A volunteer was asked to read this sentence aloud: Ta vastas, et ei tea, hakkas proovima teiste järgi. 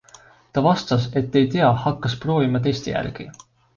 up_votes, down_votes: 2, 0